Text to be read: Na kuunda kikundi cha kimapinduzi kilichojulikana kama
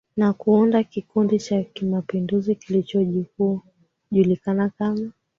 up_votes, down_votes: 2, 0